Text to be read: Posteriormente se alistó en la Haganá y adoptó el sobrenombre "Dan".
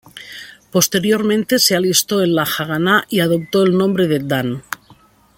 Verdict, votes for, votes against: rejected, 1, 2